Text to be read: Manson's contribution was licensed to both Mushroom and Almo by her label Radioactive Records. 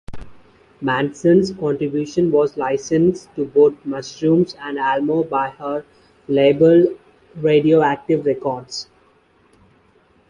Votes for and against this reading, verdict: 2, 1, accepted